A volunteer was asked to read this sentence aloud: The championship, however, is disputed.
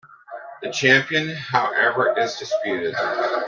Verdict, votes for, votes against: rejected, 0, 2